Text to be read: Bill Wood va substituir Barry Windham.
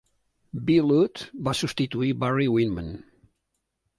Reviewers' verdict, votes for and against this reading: rejected, 0, 2